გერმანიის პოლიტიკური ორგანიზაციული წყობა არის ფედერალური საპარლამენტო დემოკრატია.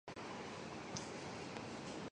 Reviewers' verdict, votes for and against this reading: rejected, 0, 2